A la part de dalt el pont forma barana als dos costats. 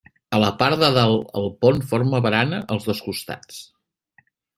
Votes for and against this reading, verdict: 2, 0, accepted